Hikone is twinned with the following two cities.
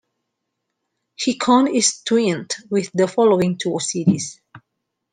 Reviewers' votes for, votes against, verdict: 2, 1, accepted